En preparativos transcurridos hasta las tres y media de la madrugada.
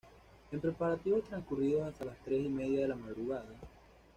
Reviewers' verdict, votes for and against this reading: accepted, 2, 0